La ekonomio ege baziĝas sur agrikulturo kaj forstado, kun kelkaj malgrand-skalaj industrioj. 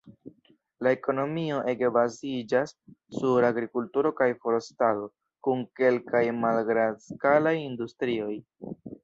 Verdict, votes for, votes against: rejected, 1, 2